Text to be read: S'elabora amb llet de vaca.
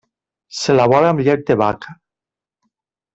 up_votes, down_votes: 2, 0